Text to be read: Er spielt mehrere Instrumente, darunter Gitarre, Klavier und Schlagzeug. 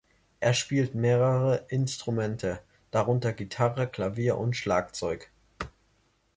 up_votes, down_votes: 2, 0